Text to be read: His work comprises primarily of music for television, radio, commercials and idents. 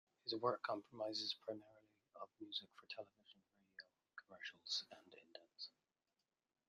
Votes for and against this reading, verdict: 0, 2, rejected